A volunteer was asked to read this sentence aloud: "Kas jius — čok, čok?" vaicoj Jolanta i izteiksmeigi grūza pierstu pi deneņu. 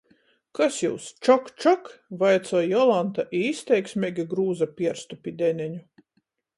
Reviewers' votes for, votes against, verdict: 14, 0, accepted